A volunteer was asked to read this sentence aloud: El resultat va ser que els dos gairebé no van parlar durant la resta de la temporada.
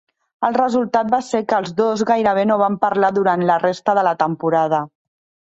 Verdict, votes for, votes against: rejected, 1, 2